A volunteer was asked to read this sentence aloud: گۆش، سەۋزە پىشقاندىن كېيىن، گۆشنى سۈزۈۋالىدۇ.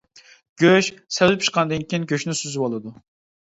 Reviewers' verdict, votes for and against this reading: accepted, 2, 1